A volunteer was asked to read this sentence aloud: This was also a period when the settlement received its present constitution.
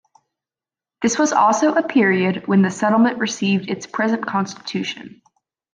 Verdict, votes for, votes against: accepted, 2, 0